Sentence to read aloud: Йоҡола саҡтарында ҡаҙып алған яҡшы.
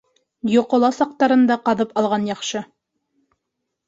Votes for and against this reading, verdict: 2, 0, accepted